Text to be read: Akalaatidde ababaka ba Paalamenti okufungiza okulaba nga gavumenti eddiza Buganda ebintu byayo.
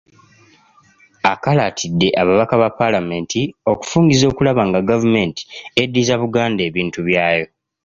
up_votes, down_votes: 2, 0